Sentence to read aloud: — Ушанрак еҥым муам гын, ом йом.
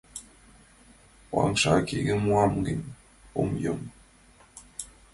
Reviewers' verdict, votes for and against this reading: accepted, 2, 1